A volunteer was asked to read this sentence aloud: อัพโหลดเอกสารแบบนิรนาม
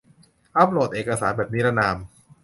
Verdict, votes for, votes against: accepted, 2, 0